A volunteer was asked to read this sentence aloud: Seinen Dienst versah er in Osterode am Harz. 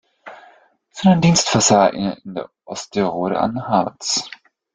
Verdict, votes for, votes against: rejected, 0, 2